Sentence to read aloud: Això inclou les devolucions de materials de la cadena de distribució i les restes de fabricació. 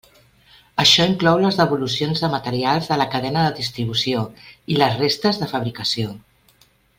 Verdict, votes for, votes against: accepted, 3, 0